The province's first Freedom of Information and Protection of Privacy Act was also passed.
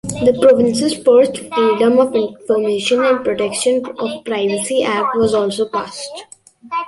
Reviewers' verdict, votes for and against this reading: rejected, 1, 2